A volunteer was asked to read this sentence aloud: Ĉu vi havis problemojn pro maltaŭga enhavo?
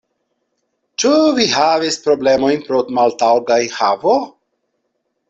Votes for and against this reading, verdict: 0, 2, rejected